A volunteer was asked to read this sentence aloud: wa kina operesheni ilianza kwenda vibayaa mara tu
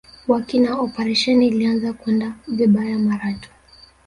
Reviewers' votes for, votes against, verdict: 1, 2, rejected